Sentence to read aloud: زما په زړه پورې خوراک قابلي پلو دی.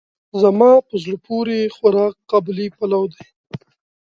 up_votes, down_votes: 2, 0